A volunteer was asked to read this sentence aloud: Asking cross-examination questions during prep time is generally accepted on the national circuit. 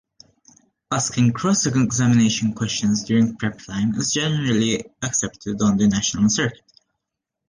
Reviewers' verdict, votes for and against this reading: rejected, 0, 2